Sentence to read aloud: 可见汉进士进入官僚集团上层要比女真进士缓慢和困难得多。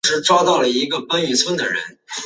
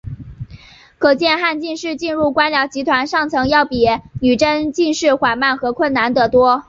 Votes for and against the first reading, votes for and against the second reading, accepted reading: 1, 2, 2, 1, second